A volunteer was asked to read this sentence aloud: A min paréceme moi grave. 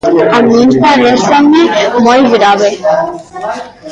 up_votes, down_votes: 2, 1